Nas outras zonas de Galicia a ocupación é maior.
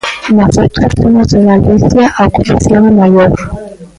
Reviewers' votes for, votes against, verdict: 1, 2, rejected